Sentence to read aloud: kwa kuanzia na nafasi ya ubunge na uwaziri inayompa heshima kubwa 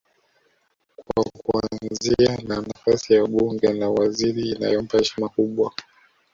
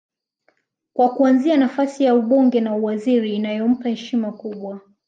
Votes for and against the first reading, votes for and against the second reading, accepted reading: 0, 2, 2, 0, second